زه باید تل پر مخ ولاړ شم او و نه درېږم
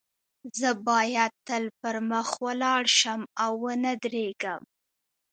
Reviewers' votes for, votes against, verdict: 2, 1, accepted